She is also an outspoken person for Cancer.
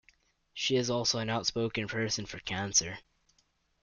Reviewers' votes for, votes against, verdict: 2, 0, accepted